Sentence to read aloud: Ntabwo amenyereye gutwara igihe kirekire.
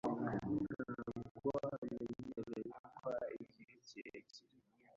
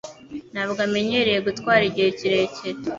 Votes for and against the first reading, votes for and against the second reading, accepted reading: 0, 2, 3, 0, second